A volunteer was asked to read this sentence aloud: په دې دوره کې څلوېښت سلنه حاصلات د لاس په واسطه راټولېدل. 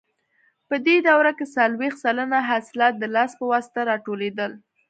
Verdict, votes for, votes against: accepted, 2, 0